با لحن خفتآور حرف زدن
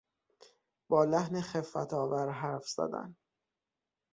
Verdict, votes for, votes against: accepted, 6, 3